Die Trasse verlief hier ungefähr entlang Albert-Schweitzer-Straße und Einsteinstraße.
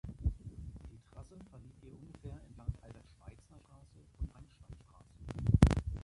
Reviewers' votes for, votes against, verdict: 0, 2, rejected